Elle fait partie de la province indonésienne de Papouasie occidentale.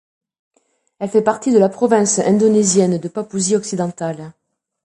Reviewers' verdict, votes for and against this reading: accepted, 2, 1